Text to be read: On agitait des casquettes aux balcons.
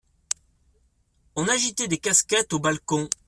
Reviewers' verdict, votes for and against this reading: accepted, 2, 0